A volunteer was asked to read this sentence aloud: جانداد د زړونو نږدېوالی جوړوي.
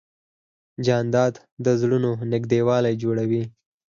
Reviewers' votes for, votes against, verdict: 4, 0, accepted